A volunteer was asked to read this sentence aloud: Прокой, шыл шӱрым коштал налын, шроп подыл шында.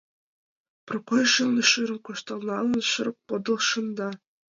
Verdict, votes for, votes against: rejected, 1, 2